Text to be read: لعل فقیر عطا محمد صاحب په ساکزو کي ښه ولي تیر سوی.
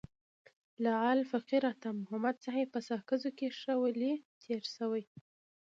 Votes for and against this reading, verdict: 2, 0, accepted